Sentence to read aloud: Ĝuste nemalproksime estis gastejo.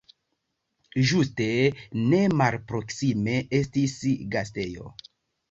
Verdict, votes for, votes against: rejected, 1, 2